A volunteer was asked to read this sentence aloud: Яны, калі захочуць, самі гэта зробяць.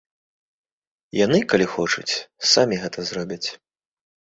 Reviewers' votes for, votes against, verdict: 1, 2, rejected